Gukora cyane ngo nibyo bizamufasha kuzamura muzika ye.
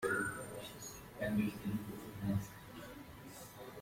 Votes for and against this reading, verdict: 0, 2, rejected